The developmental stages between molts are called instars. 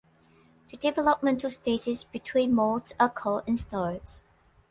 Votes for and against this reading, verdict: 2, 0, accepted